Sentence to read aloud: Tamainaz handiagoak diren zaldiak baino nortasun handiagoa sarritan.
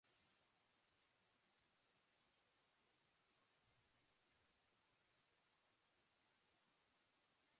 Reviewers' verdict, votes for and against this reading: rejected, 0, 6